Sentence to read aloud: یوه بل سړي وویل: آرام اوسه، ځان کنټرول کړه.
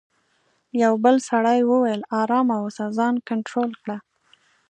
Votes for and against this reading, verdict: 2, 0, accepted